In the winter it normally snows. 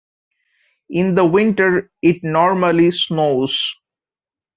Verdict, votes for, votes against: accepted, 2, 0